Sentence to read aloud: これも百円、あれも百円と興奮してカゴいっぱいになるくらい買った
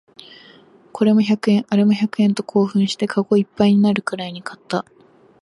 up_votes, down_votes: 0, 2